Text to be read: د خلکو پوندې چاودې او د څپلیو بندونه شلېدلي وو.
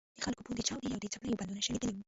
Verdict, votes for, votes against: rejected, 0, 2